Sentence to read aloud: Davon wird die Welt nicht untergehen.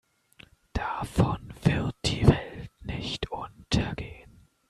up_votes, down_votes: 1, 2